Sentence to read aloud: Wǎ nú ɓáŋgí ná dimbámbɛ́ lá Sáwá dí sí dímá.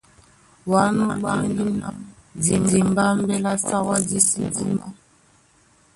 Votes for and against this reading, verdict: 0, 2, rejected